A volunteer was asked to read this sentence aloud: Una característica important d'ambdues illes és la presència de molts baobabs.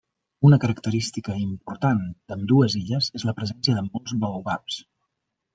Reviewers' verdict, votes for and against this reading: accepted, 2, 0